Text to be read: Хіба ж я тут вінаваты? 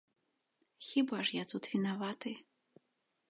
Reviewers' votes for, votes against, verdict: 2, 0, accepted